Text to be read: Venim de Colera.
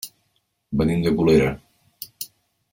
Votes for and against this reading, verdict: 2, 0, accepted